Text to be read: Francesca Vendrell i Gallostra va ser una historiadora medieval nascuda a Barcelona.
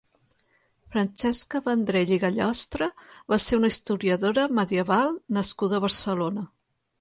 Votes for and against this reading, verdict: 3, 0, accepted